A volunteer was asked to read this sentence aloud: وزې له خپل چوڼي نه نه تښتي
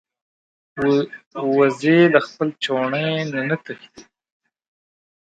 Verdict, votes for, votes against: rejected, 0, 2